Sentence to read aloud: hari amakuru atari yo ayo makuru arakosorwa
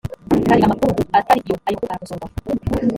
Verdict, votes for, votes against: rejected, 1, 2